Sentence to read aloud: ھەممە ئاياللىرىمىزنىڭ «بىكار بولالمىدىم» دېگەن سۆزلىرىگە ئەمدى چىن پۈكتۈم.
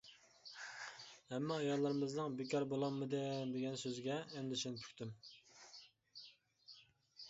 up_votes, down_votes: 2, 1